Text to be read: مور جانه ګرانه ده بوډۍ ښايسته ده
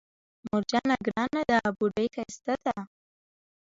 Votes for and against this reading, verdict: 1, 2, rejected